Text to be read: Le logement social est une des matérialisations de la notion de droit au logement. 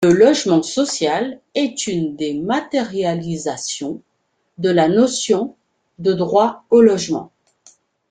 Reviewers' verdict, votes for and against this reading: accepted, 2, 0